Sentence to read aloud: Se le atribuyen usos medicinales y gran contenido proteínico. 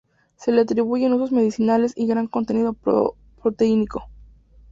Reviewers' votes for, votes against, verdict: 2, 0, accepted